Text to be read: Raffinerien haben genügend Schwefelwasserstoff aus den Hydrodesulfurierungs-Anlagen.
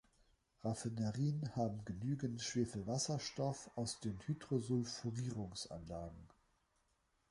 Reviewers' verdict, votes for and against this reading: accepted, 2, 0